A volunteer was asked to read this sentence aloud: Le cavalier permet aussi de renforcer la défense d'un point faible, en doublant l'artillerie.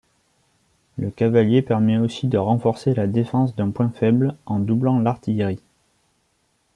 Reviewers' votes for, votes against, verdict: 2, 0, accepted